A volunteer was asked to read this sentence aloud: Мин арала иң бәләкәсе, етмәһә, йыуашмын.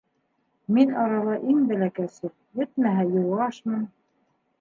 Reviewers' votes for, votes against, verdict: 1, 2, rejected